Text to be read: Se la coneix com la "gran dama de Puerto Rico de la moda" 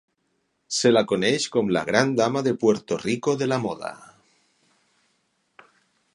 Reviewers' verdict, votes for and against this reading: accepted, 6, 0